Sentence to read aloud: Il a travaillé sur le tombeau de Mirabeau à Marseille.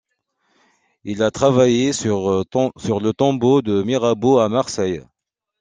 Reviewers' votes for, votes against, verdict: 1, 2, rejected